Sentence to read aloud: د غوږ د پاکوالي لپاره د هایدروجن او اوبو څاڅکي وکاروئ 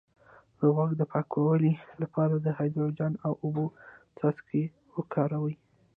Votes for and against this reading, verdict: 0, 2, rejected